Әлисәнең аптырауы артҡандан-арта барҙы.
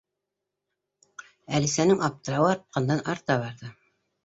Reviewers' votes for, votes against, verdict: 1, 2, rejected